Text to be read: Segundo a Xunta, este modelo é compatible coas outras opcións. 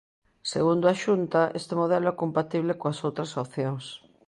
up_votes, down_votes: 2, 0